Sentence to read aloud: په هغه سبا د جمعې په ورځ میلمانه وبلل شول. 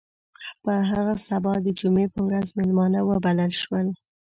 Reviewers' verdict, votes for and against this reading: accepted, 2, 0